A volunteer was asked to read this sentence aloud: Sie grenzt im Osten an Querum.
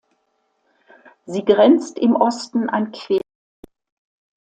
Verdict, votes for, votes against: rejected, 0, 2